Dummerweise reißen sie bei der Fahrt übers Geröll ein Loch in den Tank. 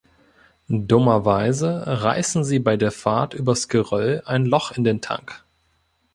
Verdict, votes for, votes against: accepted, 2, 0